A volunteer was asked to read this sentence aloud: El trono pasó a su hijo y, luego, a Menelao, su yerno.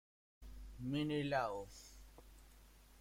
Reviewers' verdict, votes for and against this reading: rejected, 1, 2